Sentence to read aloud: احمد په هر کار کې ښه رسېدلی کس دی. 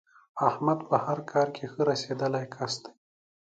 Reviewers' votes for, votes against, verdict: 2, 0, accepted